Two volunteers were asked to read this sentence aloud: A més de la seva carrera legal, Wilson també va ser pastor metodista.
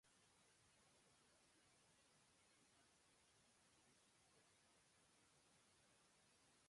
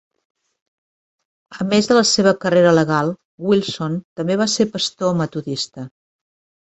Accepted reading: second